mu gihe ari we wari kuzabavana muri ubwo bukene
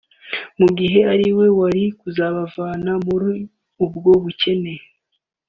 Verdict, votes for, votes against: accepted, 2, 0